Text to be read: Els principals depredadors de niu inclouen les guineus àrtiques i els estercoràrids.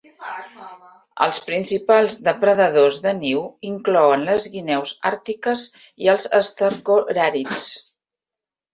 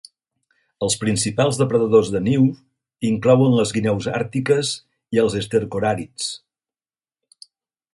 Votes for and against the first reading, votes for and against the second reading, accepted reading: 1, 2, 3, 0, second